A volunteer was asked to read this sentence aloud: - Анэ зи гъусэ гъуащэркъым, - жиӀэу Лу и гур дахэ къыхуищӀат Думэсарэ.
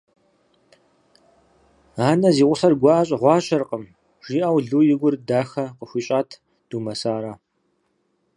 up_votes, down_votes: 0, 4